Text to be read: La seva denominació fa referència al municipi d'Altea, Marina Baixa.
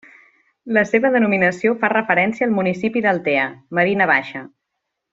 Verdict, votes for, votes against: accepted, 2, 0